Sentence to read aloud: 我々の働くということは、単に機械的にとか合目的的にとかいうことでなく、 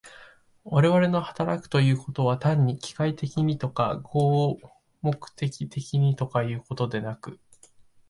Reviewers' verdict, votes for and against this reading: accepted, 2, 0